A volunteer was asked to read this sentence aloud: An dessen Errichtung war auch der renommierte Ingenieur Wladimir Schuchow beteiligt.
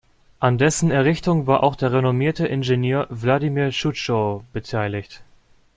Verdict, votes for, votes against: rejected, 0, 2